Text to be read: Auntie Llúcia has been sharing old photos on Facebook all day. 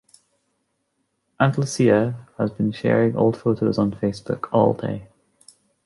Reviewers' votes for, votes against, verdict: 0, 2, rejected